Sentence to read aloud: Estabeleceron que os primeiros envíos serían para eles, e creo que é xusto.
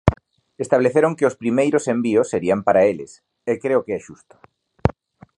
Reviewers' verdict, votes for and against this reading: rejected, 1, 2